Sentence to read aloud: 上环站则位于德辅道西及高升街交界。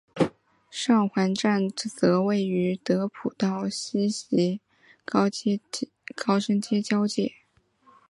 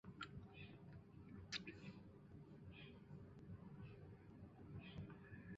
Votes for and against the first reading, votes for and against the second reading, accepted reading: 3, 0, 0, 2, first